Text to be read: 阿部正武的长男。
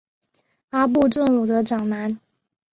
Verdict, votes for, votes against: accepted, 3, 0